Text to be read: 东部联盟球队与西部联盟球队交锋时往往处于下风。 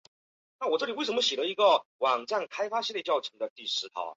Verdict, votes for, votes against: rejected, 0, 2